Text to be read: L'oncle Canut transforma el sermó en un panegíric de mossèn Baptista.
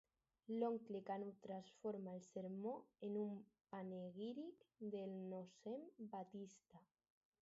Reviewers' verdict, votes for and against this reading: rejected, 2, 4